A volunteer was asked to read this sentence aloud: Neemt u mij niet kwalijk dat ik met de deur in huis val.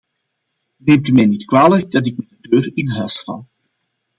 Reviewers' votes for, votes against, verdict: 2, 1, accepted